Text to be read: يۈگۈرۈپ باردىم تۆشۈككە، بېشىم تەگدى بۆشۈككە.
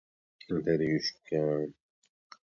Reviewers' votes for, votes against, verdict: 0, 2, rejected